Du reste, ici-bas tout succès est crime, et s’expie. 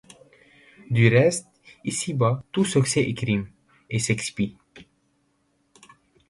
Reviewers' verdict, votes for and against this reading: accepted, 2, 0